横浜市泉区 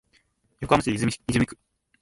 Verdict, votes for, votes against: rejected, 0, 2